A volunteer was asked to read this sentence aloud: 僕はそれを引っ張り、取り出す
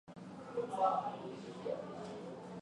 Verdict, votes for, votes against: rejected, 1, 2